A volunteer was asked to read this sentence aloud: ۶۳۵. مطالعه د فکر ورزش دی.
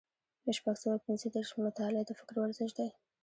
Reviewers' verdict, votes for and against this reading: rejected, 0, 2